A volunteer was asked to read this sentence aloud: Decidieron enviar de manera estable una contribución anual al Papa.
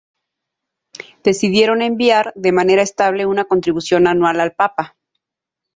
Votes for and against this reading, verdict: 2, 0, accepted